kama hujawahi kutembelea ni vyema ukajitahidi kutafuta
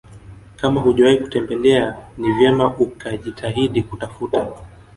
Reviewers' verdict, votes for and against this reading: accepted, 2, 0